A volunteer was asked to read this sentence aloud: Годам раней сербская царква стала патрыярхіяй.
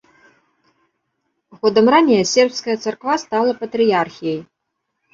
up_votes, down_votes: 0, 2